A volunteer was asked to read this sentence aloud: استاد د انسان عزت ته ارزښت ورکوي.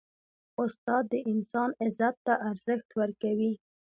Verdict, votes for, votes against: accepted, 2, 0